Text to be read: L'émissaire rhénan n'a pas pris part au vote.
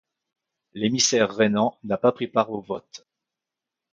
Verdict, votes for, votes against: accepted, 2, 0